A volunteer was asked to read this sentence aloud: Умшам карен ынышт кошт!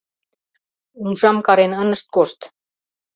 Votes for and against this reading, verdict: 2, 0, accepted